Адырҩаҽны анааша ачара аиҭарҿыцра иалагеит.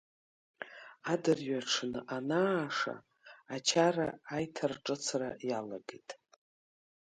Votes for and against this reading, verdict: 2, 0, accepted